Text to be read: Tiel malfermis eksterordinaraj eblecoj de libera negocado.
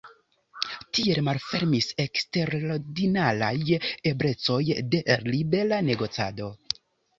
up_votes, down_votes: 2, 0